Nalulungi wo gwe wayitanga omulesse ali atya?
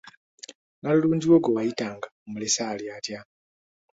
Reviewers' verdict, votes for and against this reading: accepted, 2, 0